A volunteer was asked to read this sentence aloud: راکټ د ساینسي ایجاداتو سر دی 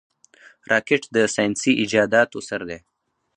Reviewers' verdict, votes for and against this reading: rejected, 0, 2